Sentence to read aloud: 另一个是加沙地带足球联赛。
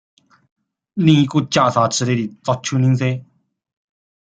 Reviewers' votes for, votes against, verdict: 0, 2, rejected